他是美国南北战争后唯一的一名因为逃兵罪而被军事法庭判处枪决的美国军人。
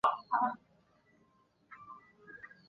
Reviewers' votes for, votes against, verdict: 0, 4, rejected